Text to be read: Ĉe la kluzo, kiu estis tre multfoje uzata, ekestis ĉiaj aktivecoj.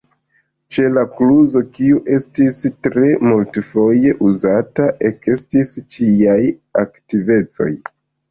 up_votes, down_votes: 2, 1